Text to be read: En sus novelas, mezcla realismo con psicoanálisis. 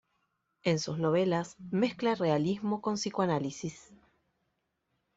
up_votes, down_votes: 2, 0